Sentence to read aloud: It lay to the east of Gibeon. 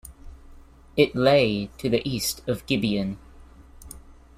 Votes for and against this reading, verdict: 2, 0, accepted